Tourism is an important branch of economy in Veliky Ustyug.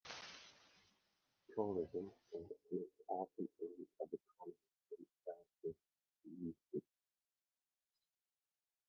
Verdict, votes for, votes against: rejected, 0, 2